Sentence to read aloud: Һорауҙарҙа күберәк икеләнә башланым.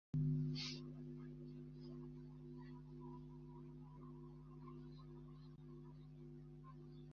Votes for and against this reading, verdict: 0, 2, rejected